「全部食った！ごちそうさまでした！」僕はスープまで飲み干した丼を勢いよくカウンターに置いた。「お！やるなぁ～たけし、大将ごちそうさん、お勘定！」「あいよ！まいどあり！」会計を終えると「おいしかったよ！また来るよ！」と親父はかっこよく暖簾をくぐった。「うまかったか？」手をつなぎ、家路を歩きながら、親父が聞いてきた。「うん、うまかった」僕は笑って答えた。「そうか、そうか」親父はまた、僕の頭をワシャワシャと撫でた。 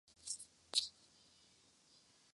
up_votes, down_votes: 2, 12